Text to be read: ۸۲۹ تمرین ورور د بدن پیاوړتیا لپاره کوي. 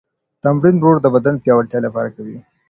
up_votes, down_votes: 0, 2